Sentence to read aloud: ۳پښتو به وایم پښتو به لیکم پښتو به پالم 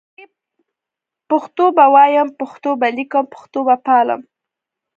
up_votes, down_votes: 0, 2